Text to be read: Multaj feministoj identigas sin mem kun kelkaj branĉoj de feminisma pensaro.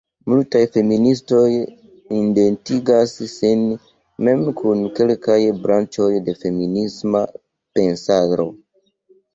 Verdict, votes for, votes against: accepted, 2, 0